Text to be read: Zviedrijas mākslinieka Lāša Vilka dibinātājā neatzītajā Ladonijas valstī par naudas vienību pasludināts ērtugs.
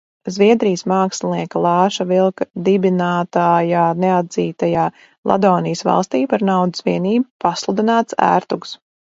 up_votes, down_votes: 0, 2